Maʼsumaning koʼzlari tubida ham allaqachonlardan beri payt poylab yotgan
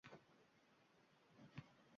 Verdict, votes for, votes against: rejected, 1, 2